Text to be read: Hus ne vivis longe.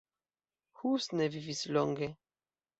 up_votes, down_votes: 1, 2